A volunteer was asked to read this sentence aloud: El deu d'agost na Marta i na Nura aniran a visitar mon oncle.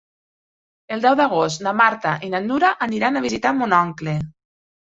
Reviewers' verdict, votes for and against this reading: accepted, 4, 0